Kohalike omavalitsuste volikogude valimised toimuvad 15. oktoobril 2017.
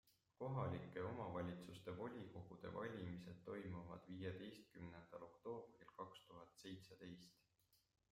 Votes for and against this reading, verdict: 0, 2, rejected